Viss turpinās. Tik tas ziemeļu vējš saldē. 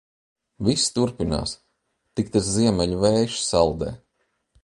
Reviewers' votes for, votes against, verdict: 2, 0, accepted